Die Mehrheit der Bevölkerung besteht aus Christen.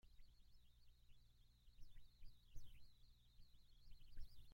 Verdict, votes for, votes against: rejected, 0, 2